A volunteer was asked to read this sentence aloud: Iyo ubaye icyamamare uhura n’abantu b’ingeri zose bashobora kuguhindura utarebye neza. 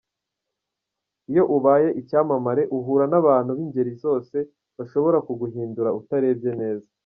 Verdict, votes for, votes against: accepted, 2, 0